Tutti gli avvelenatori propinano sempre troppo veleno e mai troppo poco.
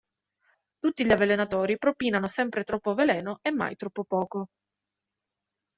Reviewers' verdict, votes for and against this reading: accepted, 2, 0